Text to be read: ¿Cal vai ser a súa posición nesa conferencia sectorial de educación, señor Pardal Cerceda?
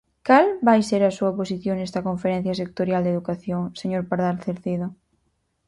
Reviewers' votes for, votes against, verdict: 2, 4, rejected